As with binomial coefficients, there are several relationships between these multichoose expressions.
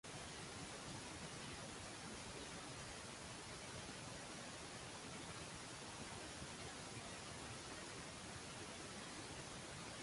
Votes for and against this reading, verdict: 0, 2, rejected